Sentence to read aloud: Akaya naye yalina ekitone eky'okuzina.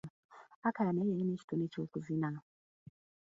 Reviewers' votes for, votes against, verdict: 1, 2, rejected